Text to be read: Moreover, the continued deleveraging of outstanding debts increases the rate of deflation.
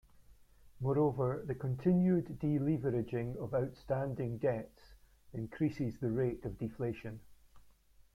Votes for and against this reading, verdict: 2, 0, accepted